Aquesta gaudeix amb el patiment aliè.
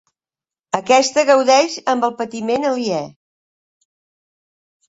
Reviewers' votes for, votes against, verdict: 4, 0, accepted